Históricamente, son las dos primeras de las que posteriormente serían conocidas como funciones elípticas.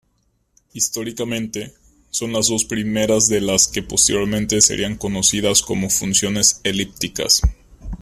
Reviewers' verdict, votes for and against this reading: accepted, 2, 0